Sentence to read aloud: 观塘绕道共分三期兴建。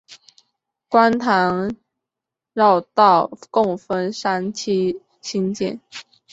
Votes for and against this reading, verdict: 4, 0, accepted